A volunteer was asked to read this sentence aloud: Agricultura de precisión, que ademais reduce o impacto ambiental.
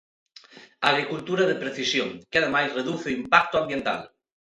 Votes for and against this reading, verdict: 2, 0, accepted